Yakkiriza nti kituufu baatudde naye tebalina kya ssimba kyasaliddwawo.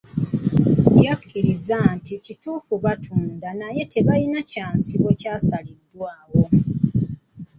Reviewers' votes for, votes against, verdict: 0, 2, rejected